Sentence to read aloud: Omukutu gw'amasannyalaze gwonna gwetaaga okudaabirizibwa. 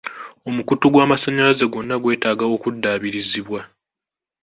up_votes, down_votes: 4, 0